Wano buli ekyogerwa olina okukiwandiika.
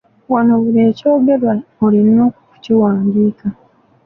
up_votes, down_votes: 2, 1